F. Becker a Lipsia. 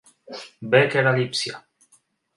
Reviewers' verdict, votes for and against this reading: rejected, 3, 4